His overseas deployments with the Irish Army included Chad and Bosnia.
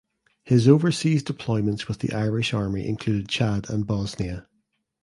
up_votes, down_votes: 2, 0